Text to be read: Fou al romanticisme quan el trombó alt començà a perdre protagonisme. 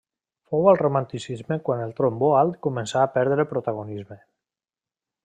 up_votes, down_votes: 2, 0